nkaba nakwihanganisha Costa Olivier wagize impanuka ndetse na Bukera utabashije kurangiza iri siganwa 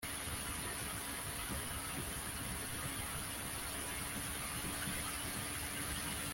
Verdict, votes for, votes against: rejected, 0, 2